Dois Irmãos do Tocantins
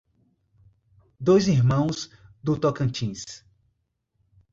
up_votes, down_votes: 2, 0